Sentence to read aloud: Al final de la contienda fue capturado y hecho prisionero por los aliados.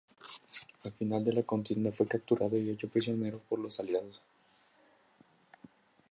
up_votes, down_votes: 4, 0